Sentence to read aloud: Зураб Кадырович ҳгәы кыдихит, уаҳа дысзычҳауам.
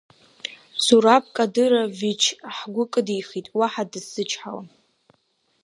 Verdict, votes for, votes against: accepted, 3, 1